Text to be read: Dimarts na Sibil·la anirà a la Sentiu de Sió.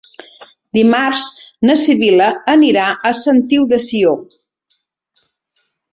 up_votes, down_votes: 0, 2